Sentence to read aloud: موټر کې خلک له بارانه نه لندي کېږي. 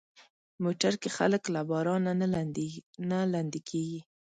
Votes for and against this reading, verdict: 1, 2, rejected